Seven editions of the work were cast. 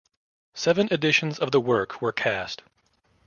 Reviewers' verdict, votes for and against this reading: accepted, 2, 0